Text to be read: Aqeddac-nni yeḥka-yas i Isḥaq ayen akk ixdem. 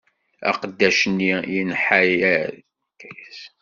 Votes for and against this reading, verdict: 1, 2, rejected